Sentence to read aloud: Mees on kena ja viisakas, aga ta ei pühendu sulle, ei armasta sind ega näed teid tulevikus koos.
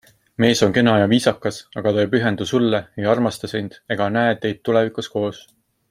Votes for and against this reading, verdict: 2, 0, accepted